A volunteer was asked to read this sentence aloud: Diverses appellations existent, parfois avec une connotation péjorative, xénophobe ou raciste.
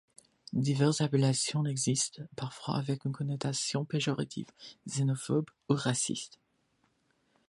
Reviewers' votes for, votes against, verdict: 2, 1, accepted